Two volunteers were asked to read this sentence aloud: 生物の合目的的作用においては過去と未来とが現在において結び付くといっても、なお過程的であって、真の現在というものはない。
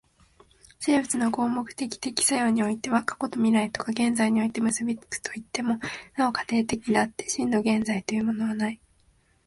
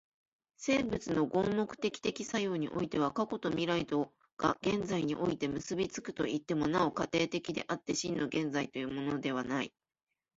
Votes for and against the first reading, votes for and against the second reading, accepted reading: 2, 0, 1, 2, first